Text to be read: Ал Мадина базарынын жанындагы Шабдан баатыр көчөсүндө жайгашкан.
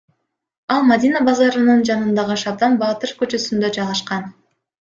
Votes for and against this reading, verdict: 1, 2, rejected